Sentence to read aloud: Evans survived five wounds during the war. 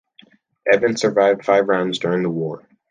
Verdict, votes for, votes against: accepted, 2, 0